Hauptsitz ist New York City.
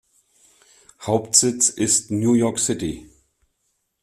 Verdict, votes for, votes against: accepted, 2, 0